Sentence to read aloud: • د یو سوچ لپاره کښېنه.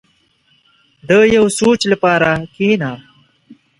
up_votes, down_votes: 2, 0